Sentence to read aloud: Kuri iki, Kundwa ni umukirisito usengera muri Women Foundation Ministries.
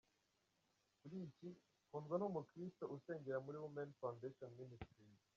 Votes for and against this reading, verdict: 0, 2, rejected